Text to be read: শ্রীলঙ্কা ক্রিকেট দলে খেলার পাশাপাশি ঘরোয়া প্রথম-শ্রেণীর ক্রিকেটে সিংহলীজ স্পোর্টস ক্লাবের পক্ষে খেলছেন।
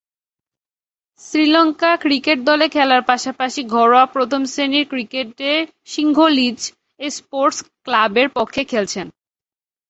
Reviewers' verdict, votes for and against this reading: accepted, 2, 0